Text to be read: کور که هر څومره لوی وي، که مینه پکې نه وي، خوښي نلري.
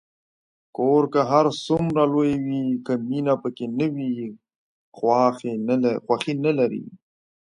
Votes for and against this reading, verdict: 2, 1, accepted